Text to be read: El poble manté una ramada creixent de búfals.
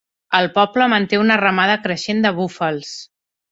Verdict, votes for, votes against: accepted, 3, 0